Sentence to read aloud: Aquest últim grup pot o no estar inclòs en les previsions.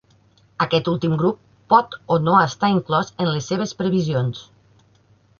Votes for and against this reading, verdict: 0, 2, rejected